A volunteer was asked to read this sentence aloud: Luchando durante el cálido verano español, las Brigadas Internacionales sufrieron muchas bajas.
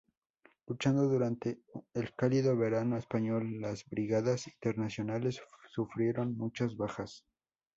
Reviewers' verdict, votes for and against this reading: accepted, 2, 0